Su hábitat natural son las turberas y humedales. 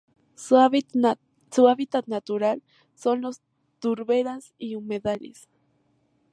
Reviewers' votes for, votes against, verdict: 0, 2, rejected